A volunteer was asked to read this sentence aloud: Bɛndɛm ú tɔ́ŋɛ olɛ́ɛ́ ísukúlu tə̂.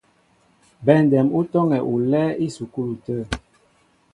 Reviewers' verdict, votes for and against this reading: accepted, 2, 0